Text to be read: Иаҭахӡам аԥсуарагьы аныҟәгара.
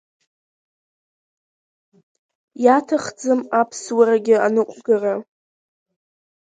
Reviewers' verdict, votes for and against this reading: rejected, 1, 2